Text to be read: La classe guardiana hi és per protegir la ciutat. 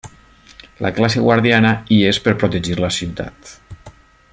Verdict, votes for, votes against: accepted, 3, 0